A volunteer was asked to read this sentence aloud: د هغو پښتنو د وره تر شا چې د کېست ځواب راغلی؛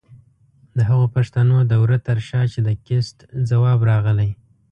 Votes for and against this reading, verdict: 3, 0, accepted